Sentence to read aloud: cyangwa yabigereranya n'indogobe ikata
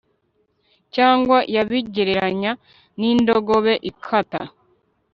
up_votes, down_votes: 0, 2